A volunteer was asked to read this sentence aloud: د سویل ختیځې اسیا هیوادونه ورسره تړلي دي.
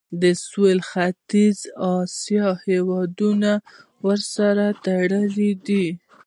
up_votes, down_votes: 2, 0